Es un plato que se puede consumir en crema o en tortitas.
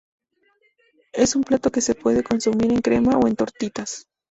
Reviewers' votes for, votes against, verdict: 0, 2, rejected